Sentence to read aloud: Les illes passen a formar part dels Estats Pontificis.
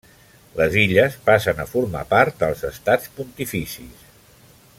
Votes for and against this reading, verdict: 3, 0, accepted